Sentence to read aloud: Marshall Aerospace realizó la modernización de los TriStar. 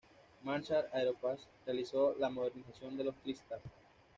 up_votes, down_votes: 1, 2